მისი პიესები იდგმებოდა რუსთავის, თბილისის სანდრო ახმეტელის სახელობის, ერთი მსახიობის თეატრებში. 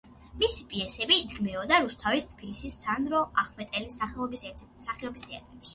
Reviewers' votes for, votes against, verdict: 2, 1, accepted